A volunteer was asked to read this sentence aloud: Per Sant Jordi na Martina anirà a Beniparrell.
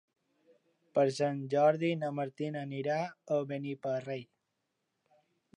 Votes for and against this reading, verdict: 3, 0, accepted